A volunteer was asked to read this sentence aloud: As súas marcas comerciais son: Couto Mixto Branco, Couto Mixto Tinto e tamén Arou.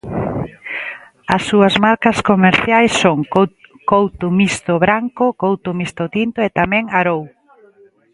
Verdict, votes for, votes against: rejected, 0, 2